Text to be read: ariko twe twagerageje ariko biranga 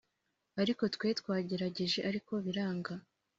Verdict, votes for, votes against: accepted, 3, 0